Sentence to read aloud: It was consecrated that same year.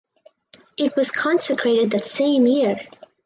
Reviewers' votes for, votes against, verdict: 2, 0, accepted